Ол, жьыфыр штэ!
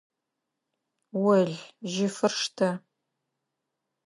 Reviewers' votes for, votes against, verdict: 2, 0, accepted